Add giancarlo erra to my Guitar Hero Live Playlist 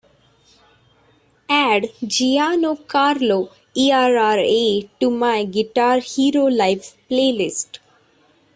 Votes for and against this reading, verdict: 1, 2, rejected